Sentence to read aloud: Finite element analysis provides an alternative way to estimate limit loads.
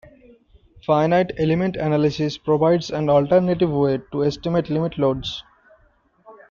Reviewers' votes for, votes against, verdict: 1, 2, rejected